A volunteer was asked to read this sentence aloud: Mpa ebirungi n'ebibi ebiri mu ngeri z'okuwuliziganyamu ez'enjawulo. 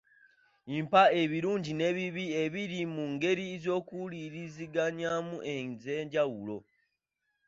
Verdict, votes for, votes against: rejected, 1, 2